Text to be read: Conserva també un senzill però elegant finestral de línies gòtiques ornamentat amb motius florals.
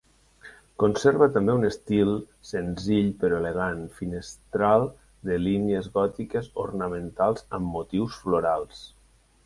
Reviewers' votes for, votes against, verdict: 0, 2, rejected